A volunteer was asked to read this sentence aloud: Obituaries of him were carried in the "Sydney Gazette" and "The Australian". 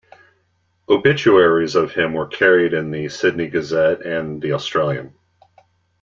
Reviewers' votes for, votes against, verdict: 2, 0, accepted